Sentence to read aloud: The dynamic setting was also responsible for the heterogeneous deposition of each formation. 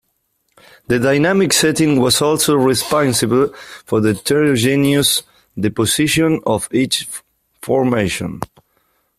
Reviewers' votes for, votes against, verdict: 1, 2, rejected